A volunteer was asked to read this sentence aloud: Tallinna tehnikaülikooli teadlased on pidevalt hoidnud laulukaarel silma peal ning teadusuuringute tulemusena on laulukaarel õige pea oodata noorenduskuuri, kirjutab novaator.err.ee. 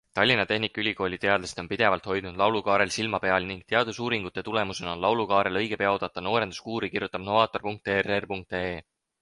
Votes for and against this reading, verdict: 6, 0, accepted